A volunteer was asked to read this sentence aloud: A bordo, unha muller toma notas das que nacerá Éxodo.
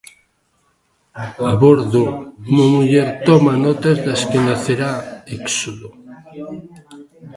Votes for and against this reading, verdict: 2, 1, accepted